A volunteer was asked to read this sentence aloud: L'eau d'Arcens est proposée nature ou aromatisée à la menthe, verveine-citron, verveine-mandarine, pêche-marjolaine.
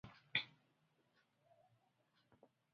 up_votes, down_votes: 0, 2